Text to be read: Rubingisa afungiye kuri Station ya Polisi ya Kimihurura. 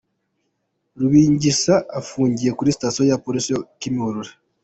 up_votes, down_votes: 2, 1